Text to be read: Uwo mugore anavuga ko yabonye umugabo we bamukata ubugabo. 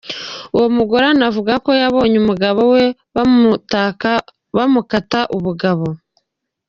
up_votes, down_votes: 1, 2